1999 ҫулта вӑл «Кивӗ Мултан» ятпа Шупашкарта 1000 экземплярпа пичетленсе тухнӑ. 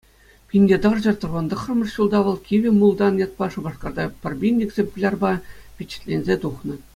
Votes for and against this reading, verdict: 0, 2, rejected